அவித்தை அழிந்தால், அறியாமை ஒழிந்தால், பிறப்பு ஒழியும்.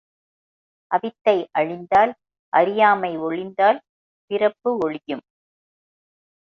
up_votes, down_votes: 3, 0